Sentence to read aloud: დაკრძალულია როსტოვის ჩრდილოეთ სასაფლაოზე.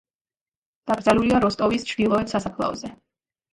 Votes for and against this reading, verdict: 2, 0, accepted